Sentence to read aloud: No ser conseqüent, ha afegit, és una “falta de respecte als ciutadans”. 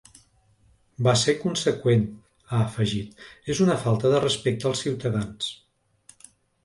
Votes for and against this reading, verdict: 0, 2, rejected